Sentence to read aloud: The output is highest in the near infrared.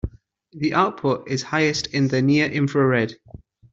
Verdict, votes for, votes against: accepted, 2, 0